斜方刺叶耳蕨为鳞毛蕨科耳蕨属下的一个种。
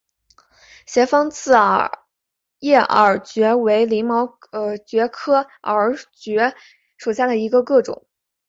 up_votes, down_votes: 1, 3